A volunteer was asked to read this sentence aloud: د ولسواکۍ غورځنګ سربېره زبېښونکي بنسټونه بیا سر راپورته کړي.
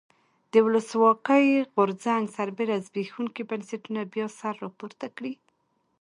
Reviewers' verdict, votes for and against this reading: accepted, 2, 0